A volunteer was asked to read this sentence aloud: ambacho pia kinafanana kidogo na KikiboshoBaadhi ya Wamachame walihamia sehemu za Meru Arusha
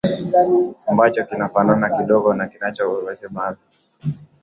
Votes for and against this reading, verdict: 1, 5, rejected